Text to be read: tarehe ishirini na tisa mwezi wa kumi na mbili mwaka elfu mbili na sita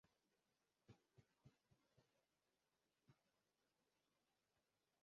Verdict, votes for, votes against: rejected, 0, 2